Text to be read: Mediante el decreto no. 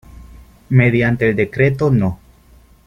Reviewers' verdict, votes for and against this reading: accepted, 2, 0